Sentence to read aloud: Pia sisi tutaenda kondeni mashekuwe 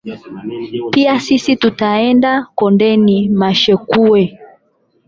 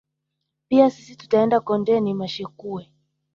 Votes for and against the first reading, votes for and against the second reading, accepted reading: 0, 8, 2, 0, second